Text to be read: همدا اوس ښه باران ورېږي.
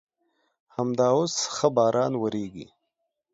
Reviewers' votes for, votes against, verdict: 2, 0, accepted